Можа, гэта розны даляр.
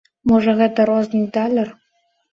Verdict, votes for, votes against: rejected, 0, 2